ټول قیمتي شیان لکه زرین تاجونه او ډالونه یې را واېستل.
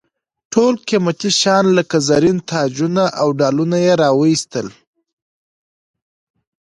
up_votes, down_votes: 2, 0